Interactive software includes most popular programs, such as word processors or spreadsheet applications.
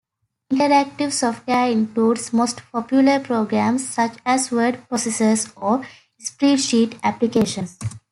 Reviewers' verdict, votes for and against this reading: rejected, 0, 2